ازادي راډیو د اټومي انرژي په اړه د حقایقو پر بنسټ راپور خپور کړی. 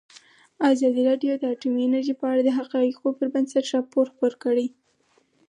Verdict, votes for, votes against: accepted, 4, 0